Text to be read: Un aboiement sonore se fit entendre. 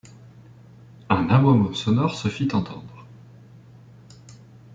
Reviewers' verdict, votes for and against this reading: accepted, 2, 0